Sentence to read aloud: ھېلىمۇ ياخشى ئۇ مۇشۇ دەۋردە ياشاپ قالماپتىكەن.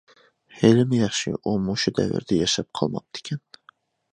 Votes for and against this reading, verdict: 2, 0, accepted